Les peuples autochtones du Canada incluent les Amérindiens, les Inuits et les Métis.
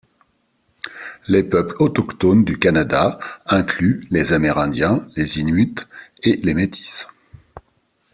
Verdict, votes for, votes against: accepted, 2, 0